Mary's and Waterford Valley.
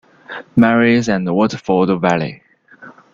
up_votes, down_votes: 2, 0